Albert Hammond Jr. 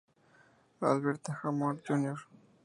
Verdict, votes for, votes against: accepted, 2, 0